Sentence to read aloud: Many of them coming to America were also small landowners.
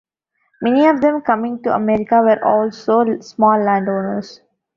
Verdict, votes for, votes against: accepted, 2, 0